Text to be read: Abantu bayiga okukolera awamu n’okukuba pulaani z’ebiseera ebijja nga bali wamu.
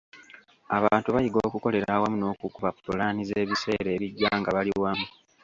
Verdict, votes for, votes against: accepted, 2, 1